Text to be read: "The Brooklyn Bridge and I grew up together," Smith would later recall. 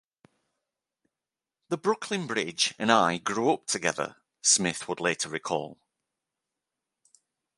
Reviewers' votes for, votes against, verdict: 2, 0, accepted